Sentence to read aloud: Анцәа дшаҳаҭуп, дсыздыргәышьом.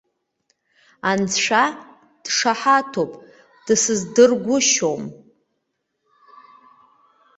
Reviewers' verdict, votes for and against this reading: accepted, 2, 0